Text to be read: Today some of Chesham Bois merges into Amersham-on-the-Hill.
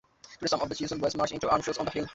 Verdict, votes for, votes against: rejected, 0, 2